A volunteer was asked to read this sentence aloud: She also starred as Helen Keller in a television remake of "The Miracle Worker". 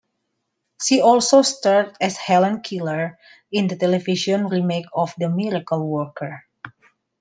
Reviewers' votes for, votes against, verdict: 0, 2, rejected